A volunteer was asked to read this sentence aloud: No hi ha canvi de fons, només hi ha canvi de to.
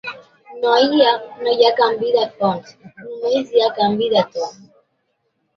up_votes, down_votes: 0, 2